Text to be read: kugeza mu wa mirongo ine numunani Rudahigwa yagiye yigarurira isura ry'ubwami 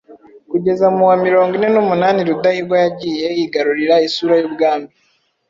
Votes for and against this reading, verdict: 0, 2, rejected